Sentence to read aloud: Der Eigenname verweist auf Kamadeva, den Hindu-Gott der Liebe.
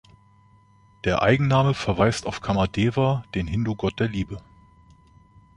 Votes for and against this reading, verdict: 2, 0, accepted